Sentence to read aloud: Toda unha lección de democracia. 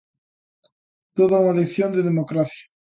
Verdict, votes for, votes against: accepted, 2, 1